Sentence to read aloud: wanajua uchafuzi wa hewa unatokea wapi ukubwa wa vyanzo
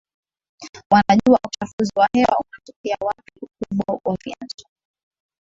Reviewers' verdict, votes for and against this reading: rejected, 0, 2